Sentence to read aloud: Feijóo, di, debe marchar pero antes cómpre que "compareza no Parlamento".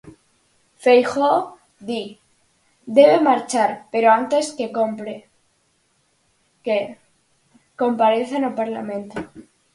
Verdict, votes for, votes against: rejected, 0, 4